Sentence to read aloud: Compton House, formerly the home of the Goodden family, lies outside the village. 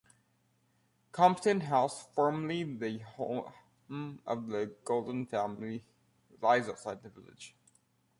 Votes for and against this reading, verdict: 0, 2, rejected